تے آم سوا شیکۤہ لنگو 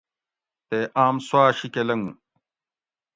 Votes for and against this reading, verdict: 2, 0, accepted